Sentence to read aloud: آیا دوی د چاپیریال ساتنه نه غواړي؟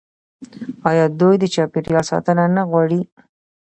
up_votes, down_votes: 2, 0